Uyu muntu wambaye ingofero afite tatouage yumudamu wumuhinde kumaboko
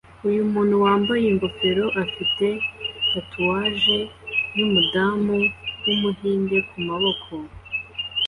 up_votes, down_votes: 2, 0